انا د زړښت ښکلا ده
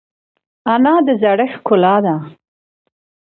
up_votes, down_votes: 2, 0